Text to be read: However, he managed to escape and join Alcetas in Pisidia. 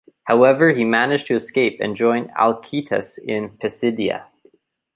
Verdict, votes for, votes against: accepted, 2, 0